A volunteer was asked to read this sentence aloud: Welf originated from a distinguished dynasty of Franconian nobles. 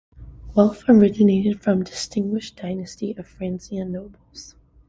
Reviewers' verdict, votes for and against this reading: rejected, 0, 2